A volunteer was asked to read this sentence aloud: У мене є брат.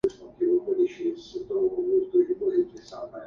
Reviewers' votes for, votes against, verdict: 0, 2, rejected